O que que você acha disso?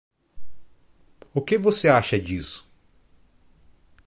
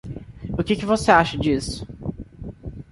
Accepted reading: second